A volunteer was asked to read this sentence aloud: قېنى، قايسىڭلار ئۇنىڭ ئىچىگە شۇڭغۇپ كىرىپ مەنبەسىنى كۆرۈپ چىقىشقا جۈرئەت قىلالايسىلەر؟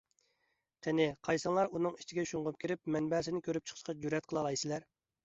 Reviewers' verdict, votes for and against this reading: accepted, 2, 1